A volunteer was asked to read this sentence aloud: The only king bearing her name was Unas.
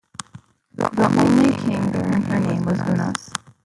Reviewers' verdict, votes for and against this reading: rejected, 0, 2